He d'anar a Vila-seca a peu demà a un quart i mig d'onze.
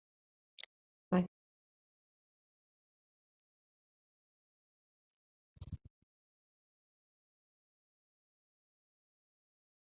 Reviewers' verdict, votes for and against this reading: rejected, 0, 3